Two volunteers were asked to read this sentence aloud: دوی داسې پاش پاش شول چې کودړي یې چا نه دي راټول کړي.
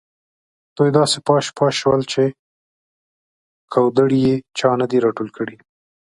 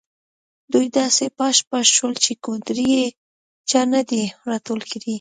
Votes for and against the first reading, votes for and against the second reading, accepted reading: 2, 0, 1, 2, first